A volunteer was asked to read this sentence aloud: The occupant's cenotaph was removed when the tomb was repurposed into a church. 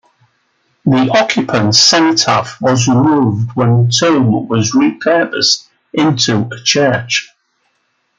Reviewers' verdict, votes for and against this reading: rejected, 1, 2